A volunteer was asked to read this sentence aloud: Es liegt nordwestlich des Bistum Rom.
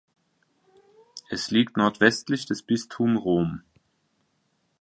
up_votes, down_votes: 2, 0